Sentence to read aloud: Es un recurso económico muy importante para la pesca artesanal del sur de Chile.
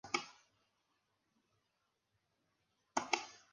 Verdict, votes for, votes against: rejected, 0, 2